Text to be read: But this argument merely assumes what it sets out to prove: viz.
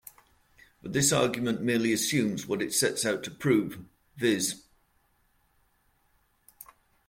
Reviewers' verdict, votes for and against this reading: rejected, 0, 2